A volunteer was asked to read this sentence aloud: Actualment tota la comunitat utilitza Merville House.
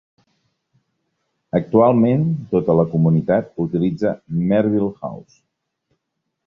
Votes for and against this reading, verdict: 3, 0, accepted